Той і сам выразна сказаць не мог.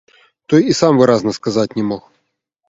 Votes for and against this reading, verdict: 1, 2, rejected